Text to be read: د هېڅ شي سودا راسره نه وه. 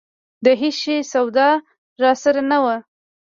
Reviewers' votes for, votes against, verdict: 2, 0, accepted